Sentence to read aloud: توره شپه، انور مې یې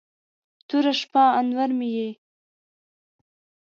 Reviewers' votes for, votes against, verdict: 2, 0, accepted